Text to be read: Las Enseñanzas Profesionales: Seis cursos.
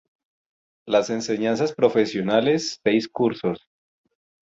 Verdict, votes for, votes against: accepted, 2, 0